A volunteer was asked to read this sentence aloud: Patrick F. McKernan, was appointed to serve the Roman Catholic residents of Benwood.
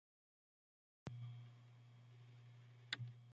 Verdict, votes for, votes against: rejected, 1, 2